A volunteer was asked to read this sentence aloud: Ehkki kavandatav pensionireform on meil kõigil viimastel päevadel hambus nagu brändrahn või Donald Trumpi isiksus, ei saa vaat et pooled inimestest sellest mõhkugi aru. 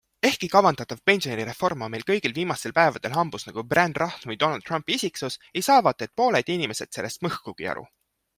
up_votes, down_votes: 2, 0